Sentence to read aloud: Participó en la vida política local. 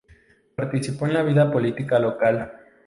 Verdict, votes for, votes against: accepted, 2, 0